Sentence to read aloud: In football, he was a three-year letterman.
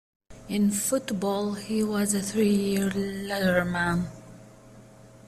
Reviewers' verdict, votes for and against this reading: accepted, 2, 1